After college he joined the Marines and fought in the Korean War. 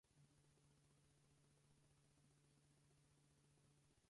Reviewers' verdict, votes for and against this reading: rejected, 0, 4